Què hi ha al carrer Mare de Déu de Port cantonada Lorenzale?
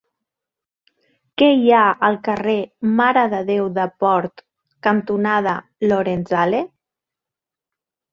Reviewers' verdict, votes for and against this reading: accepted, 3, 0